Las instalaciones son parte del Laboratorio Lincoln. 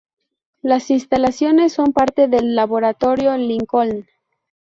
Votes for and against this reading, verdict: 0, 2, rejected